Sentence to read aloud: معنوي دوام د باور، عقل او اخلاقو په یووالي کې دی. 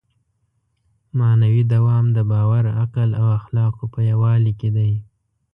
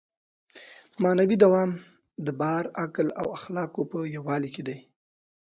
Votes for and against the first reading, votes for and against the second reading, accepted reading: 2, 0, 1, 2, first